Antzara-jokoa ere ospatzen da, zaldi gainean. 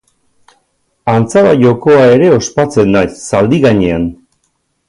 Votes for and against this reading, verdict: 2, 0, accepted